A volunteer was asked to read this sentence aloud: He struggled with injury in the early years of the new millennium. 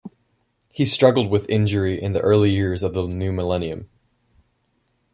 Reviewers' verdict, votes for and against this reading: accepted, 2, 0